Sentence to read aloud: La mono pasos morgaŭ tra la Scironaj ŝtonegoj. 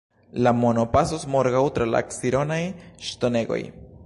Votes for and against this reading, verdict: 1, 2, rejected